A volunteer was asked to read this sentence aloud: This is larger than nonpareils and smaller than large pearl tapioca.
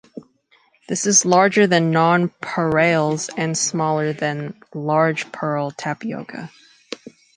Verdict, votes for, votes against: rejected, 1, 2